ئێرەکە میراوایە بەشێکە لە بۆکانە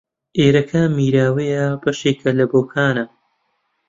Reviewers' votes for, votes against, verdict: 1, 2, rejected